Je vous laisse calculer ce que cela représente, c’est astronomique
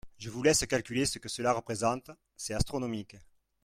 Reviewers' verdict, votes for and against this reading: rejected, 1, 2